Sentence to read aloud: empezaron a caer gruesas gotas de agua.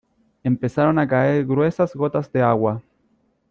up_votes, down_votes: 2, 0